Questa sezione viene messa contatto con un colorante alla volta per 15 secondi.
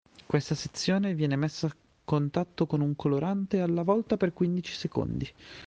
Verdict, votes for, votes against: rejected, 0, 2